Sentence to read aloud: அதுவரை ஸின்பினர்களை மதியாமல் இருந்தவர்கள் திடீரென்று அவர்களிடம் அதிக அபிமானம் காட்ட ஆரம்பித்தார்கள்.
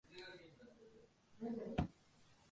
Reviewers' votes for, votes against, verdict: 0, 2, rejected